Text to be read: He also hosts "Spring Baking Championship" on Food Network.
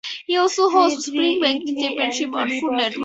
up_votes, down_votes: 0, 4